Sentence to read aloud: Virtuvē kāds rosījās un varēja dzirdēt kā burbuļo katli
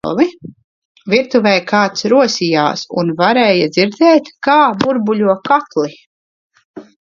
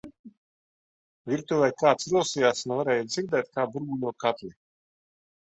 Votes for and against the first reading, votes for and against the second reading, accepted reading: 0, 2, 2, 1, second